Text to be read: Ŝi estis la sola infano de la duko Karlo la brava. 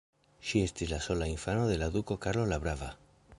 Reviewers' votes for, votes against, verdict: 0, 2, rejected